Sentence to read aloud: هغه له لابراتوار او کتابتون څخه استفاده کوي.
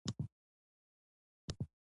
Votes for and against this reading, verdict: 2, 0, accepted